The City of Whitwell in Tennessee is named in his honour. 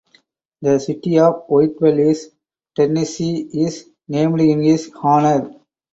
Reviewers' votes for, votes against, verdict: 2, 4, rejected